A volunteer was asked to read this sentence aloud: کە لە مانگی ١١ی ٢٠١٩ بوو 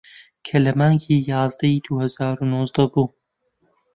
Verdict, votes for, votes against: rejected, 0, 2